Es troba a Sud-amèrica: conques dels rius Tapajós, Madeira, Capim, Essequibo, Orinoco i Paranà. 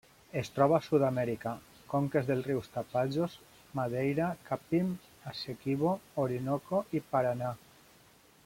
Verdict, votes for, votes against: rejected, 1, 2